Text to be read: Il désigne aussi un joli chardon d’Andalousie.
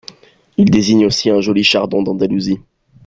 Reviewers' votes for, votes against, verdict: 3, 1, accepted